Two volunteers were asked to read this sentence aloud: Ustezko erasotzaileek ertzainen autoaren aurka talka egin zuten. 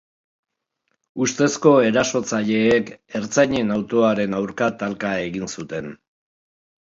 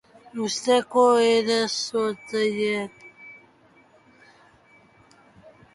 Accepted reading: first